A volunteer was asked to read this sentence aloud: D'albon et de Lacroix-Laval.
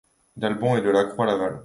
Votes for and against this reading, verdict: 2, 0, accepted